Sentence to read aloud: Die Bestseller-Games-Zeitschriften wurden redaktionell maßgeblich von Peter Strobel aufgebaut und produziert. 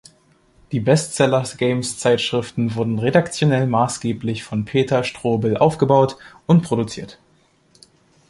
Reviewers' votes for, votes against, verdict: 1, 2, rejected